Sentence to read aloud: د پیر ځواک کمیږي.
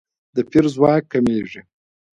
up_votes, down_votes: 0, 2